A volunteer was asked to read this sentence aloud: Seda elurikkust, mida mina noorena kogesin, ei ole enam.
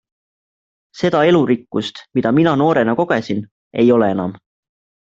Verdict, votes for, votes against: accepted, 2, 0